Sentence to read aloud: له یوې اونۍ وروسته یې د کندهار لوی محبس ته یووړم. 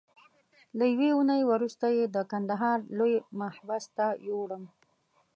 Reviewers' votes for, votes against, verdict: 2, 0, accepted